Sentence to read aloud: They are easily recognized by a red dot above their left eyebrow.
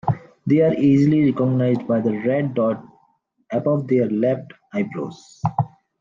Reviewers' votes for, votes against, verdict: 0, 2, rejected